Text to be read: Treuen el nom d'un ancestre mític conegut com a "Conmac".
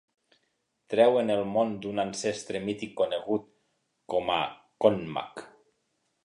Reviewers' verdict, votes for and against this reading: rejected, 0, 2